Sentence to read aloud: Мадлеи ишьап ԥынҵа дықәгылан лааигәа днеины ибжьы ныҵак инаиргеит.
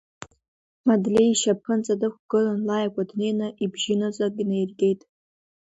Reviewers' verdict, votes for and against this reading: rejected, 1, 2